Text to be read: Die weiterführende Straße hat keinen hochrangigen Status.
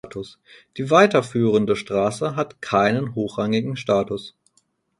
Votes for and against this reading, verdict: 2, 4, rejected